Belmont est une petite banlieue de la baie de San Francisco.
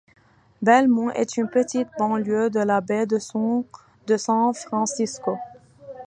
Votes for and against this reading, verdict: 0, 2, rejected